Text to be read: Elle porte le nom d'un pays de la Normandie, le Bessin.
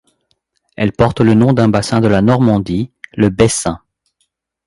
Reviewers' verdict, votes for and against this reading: rejected, 1, 2